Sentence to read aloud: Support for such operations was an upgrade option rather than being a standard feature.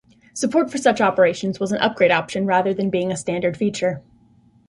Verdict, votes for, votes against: accepted, 2, 1